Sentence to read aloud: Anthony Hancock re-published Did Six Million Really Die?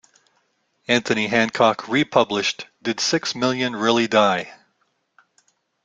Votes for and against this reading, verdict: 3, 0, accepted